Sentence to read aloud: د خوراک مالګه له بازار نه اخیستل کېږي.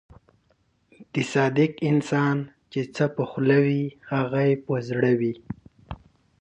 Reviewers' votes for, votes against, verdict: 1, 2, rejected